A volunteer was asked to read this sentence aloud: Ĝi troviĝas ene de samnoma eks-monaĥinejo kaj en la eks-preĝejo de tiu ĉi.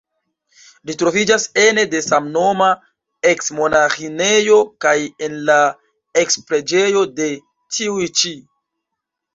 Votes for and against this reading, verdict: 1, 2, rejected